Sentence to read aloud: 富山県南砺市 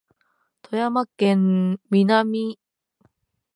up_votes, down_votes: 0, 3